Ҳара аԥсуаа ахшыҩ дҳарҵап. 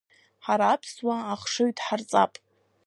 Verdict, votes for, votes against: accepted, 2, 0